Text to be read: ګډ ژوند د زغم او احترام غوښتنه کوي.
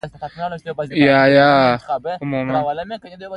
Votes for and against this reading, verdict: 1, 2, rejected